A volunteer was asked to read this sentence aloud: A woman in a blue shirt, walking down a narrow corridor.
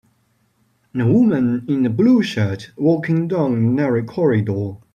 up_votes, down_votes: 1, 2